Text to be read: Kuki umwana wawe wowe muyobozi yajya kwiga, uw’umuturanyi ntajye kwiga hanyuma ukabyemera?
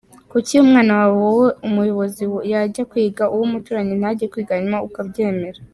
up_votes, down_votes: 2, 1